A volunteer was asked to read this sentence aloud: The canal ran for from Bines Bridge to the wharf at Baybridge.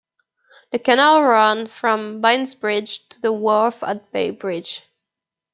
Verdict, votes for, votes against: rejected, 0, 2